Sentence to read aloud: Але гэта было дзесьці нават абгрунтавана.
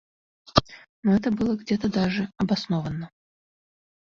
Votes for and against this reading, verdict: 0, 2, rejected